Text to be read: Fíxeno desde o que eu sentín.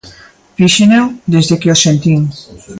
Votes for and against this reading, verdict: 0, 2, rejected